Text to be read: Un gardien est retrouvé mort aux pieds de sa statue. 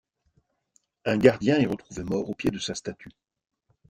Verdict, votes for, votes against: rejected, 0, 2